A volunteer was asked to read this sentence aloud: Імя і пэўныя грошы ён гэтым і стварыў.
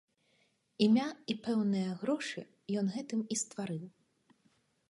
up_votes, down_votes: 2, 0